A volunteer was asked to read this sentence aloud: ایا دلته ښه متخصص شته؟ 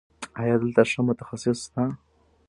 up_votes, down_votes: 0, 2